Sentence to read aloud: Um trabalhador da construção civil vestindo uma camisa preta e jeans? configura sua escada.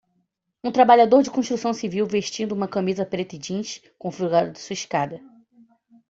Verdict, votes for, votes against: rejected, 1, 2